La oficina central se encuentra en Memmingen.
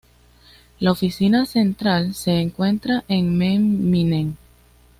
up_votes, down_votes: 1, 2